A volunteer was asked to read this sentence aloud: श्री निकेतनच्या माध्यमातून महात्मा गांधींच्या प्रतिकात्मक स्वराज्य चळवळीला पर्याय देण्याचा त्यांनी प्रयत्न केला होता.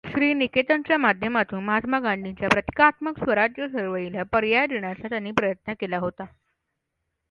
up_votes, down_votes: 2, 0